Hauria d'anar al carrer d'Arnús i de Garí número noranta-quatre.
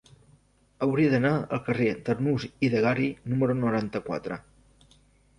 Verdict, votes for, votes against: rejected, 1, 2